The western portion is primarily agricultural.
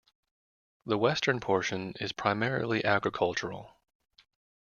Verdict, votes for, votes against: accepted, 2, 0